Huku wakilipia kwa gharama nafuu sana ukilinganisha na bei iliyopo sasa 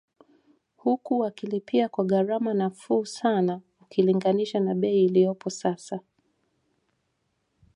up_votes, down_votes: 1, 2